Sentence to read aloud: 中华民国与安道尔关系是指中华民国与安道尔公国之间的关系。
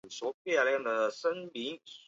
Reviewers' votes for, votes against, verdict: 0, 2, rejected